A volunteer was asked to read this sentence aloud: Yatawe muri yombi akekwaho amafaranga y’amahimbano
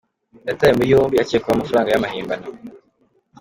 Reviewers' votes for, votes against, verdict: 2, 0, accepted